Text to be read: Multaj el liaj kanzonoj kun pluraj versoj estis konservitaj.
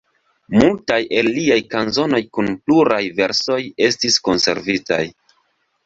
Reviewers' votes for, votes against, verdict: 4, 0, accepted